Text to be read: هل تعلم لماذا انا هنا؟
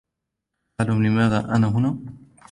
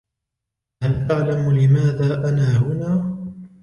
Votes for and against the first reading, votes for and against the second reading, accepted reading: 1, 2, 2, 0, second